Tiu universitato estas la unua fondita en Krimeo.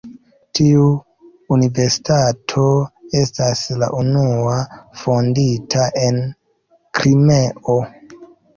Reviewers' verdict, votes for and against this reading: accepted, 2, 0